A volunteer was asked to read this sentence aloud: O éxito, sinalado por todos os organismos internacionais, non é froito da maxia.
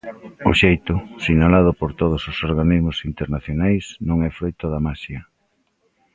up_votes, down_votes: 0, 2